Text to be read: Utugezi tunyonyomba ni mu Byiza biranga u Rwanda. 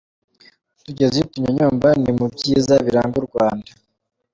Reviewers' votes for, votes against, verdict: 2, 0, accepted